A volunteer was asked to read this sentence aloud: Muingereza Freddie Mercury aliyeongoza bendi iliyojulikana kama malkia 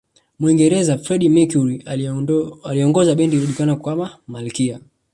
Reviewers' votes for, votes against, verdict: 0, 2, rejected